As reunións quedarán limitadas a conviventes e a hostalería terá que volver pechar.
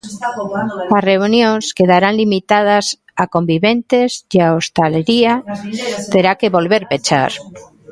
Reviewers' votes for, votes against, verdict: 0, 3, rejected